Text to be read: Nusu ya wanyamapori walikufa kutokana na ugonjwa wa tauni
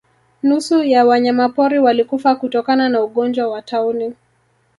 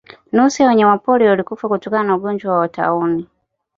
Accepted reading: second